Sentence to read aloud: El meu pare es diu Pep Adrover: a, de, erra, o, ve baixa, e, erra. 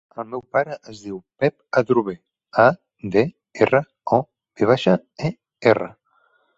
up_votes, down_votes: 3, 0